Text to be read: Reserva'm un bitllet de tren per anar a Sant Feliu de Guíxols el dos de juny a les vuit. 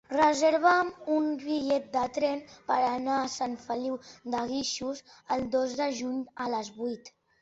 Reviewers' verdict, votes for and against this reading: accepted, 2, 0